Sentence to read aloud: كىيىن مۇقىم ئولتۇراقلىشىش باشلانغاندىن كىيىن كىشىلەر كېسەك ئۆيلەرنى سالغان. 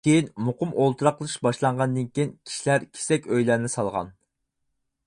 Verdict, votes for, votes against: rejected, 0, 4